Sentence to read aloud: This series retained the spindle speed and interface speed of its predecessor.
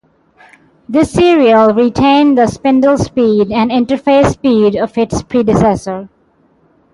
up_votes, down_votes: 0, 6